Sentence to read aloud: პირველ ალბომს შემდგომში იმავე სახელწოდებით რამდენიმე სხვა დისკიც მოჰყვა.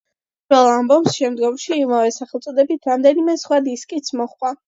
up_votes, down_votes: 0, 2